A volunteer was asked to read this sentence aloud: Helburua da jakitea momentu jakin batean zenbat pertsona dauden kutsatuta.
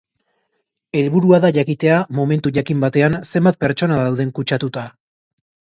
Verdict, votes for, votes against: accepted, 2, 0